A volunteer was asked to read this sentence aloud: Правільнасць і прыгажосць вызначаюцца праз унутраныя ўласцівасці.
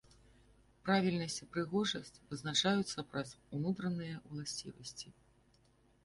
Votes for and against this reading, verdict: 2, 1, accepted